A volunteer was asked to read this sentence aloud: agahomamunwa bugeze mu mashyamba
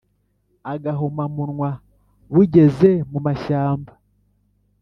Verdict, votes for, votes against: accepted, 2, 0